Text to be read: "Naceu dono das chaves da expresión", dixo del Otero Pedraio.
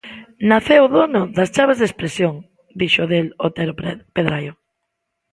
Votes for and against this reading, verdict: 0, 2, rejected